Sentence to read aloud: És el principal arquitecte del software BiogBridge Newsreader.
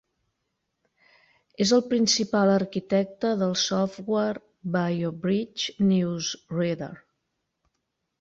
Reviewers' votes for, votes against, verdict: 2, 0, accepted